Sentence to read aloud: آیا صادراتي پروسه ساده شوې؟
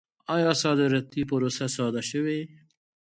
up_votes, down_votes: 2, 0